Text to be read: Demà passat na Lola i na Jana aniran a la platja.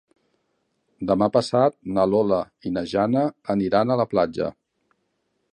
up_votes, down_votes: 3, 0